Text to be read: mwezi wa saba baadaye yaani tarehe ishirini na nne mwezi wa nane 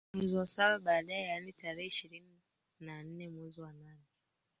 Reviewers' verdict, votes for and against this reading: accepted, 3, 2